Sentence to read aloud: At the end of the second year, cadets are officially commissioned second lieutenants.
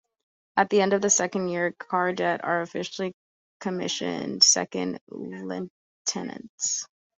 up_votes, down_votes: 0, 3